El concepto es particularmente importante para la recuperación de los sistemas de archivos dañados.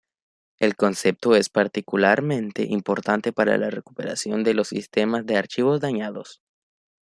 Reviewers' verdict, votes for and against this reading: accepted, 2, 0